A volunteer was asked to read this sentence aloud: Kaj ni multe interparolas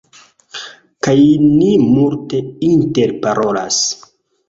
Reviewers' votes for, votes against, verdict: 2, 0, accepted